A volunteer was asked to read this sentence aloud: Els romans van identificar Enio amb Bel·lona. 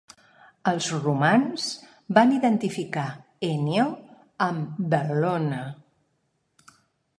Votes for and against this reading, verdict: 0, 2, rejected